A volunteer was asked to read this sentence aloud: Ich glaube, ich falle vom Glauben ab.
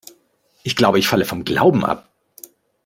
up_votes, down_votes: 2, 0